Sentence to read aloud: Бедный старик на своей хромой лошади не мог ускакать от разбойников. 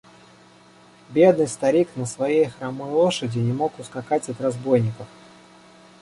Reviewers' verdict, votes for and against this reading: accepted, 2, 0